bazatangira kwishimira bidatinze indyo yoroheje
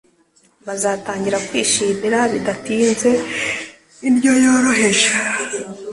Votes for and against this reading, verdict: 2, 0, accepted